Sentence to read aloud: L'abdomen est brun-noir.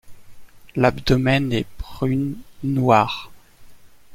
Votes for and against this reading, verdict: 0, 2, rejected